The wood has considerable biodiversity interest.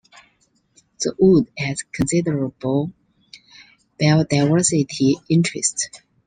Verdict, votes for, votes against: rejected, 0, 2